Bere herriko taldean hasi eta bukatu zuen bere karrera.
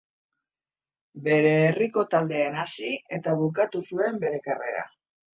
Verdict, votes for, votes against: accepted, 2, 0